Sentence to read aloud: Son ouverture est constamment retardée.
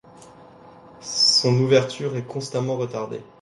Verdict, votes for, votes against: accepted, 2, 0